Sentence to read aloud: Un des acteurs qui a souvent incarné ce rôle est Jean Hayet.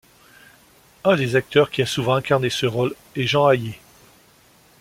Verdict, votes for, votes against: accepted, 2, 0